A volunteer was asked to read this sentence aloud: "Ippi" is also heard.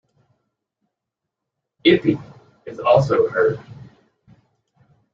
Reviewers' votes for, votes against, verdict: 2, 0, accepted